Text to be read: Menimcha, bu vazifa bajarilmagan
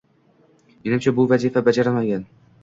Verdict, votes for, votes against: accepted, 2, 0